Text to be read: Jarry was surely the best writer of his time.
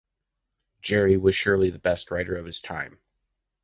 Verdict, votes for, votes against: accepted, 2, 0